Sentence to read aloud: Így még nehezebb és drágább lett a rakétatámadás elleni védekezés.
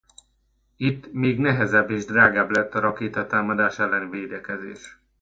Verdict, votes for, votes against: rejected, 0, 2